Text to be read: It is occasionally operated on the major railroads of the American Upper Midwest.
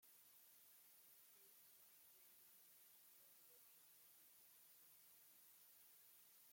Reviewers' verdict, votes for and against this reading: rejected, 0, 2